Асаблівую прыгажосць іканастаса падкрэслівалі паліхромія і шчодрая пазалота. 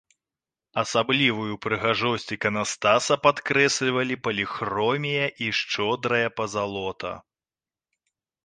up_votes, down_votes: 3, 0